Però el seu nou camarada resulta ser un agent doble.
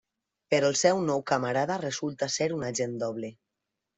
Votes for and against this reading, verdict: 3, 0, accepted